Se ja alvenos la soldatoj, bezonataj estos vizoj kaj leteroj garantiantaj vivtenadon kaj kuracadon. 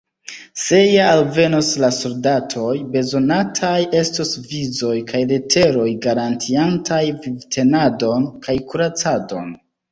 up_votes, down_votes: 2, 0